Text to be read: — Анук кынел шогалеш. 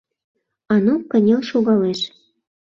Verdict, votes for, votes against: rejected, 1, 2